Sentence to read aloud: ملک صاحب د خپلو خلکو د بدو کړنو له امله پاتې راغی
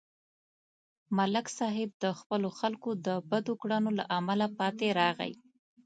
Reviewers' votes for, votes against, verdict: 2, 0, accepted